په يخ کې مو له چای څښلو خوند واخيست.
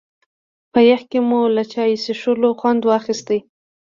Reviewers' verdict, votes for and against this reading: rejected, 1, 2